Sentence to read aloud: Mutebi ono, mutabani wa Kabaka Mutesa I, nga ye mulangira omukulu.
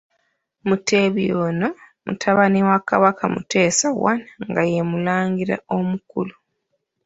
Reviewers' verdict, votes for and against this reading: accepted, 3, 2